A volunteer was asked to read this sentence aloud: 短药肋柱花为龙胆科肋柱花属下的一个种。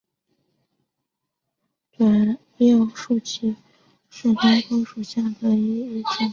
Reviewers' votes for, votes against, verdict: 0, 2, rejected